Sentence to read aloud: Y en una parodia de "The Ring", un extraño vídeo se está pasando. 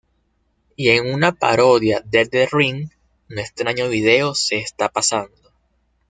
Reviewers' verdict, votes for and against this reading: rejected, 1, 2